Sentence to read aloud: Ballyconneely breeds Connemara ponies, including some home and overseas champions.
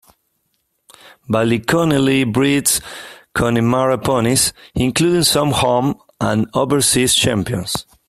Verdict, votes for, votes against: accepted, 2, 1